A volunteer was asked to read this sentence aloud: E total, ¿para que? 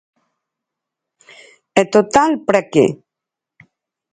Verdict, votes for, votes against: accepted, 4, 0